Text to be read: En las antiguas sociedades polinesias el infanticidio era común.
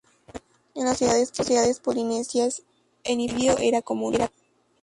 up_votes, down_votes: 0, 2